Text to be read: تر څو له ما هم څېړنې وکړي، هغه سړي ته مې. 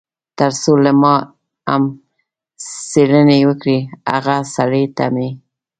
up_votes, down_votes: 1, 2